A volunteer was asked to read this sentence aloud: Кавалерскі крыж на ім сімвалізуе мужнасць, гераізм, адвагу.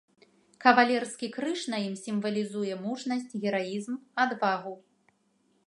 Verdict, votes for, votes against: accepted, 2, 0